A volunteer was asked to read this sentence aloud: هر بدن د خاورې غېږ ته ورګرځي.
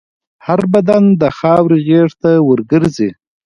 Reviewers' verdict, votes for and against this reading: rejected, 1, 2